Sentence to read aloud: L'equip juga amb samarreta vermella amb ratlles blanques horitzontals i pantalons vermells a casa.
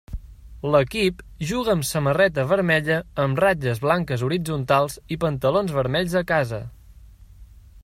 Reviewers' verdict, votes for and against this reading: accepted, 3, 0